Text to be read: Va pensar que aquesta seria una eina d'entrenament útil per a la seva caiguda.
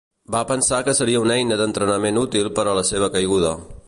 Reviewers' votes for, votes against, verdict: 1, 2, rejected